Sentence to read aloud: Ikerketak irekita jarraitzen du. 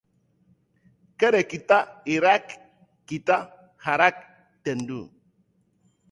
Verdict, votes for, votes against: rejected, 0, 3